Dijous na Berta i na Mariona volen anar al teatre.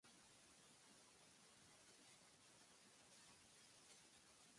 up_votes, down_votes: 0, 2